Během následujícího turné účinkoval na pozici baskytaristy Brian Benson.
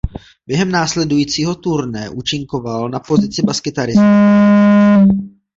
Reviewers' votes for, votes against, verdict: 0, 2, rejected